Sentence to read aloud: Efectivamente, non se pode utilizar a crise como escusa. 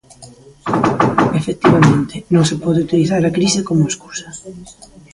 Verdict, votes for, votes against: rejected, 0, 2